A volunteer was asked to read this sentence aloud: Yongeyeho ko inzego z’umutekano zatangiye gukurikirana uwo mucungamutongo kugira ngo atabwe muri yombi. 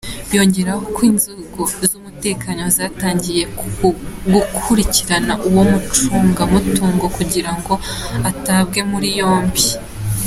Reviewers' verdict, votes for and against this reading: accepted, 2, 1